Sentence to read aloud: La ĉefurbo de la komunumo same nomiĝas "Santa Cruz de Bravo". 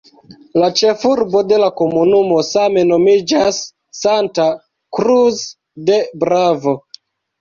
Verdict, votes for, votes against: rejected, 0, 2